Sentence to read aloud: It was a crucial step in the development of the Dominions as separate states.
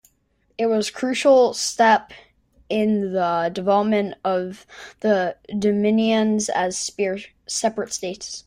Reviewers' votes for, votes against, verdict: 1, 2, rejected